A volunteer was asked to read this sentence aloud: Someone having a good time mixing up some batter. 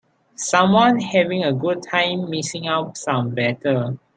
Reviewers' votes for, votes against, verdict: 2, 3, rejected